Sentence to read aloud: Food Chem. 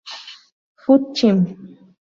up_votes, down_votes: 4, 0